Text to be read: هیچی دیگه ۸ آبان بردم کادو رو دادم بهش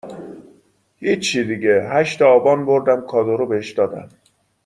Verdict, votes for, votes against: rejected, 0, 2